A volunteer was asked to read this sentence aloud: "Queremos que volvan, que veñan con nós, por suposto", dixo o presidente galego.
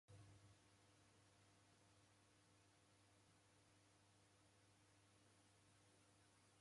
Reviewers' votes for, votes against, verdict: 0, 2, rejected